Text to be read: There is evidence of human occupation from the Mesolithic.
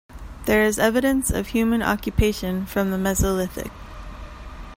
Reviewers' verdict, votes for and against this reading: accepted, 2, 0